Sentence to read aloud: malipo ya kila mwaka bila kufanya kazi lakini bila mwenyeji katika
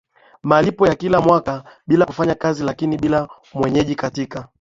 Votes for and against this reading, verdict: 11, 3, accepted